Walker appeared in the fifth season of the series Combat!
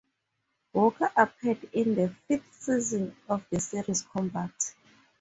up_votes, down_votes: 0, 2